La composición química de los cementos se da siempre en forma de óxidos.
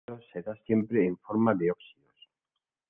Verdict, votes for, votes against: rejected, 1, 2